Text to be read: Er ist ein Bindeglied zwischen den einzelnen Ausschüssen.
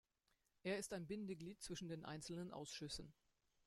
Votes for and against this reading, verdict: 2, 0, accepted